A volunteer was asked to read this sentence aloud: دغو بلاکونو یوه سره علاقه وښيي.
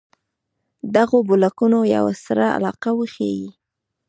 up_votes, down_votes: 2, 0